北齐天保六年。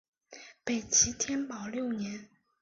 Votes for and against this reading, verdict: 2, 0, accepted